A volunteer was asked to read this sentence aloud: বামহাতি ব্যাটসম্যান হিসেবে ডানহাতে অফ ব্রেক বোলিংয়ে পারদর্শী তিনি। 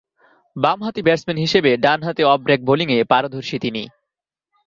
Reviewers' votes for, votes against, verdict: 2, 0, accepted